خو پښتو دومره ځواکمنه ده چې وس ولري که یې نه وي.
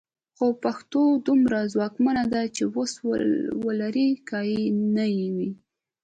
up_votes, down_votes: 3, 0